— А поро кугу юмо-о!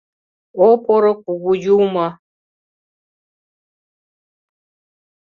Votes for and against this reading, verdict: 1, 2, rejected